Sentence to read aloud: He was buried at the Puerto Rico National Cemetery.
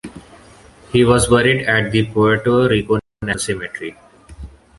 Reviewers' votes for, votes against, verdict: 1, 2, rejected